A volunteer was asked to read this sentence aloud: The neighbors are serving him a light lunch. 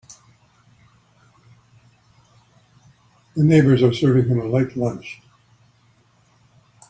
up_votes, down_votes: 2, 0